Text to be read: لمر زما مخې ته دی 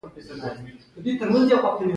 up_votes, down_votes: 2, 0